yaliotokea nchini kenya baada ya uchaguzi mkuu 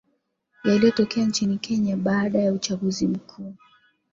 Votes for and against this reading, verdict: 2, 1, accepted